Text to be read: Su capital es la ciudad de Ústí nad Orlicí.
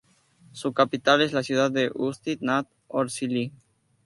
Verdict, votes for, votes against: rejected, 2, 2